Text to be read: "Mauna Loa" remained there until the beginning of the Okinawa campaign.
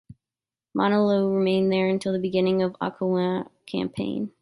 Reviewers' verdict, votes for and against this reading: accepted, 3, 2